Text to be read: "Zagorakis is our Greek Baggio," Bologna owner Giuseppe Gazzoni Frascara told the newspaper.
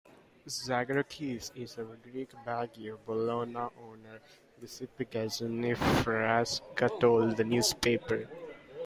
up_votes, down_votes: 0, 2